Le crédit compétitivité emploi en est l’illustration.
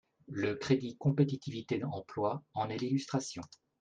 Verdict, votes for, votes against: rejected, 0, 2